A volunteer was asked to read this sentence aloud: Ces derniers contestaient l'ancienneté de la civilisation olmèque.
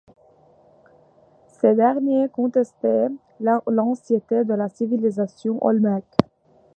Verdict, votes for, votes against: rejected, 1, 2